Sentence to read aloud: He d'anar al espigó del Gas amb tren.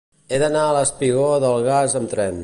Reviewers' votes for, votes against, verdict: 2, 0, accepted